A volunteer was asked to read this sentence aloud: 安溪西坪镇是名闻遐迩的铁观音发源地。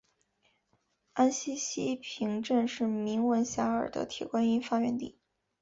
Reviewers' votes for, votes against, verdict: 4, 0, accepted